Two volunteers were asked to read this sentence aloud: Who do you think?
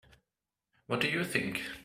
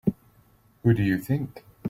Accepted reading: second